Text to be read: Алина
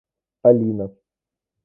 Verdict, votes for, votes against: rejected, 1, 2